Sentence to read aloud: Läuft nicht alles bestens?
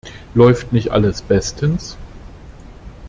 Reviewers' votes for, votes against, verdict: 2, 1, accepted